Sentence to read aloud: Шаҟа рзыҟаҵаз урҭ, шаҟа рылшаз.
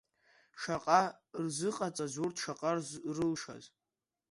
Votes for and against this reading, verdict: 0, 2, rejected